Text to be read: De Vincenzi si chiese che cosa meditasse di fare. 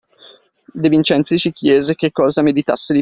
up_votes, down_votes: 0, 2